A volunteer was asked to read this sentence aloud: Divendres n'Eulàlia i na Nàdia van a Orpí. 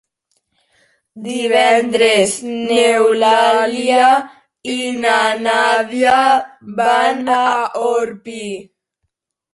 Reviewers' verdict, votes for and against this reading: rejected, 1, 2